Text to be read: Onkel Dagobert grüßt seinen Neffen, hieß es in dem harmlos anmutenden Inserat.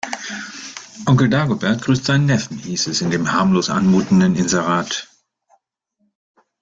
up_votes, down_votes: 2, 1